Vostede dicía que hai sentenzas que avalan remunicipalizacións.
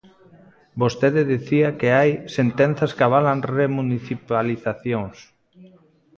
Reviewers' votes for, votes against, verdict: 0, 2, rejected